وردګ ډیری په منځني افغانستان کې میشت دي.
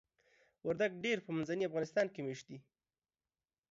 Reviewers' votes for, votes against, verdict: 2, 0, accepted